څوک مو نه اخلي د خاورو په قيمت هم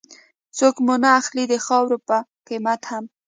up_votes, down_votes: 2, 0